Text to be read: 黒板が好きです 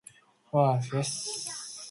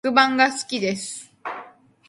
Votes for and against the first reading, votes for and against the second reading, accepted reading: 0, 2, 2, 0, second